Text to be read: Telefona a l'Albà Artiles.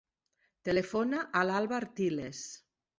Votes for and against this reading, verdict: 0, 2, rejected